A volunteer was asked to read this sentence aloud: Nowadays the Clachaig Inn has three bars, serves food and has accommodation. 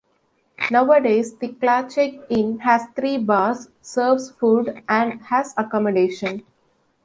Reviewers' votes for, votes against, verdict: 2, 0, accepted